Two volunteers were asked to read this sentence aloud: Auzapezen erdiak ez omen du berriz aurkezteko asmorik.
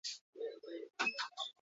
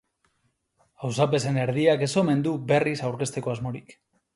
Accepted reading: second